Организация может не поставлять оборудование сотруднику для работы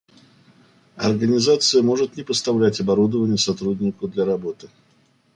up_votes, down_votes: 2, 0